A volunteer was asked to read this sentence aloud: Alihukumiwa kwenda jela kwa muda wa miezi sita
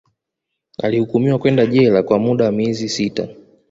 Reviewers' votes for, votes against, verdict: 1, 2, rejected